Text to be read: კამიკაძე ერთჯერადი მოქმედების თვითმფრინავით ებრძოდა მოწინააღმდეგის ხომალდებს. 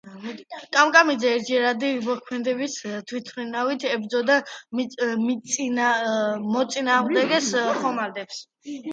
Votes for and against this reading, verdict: 0, 2, rejected